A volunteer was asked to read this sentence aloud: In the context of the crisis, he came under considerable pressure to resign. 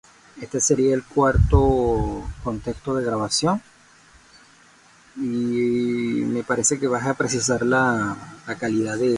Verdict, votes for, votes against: rejected, 0, 2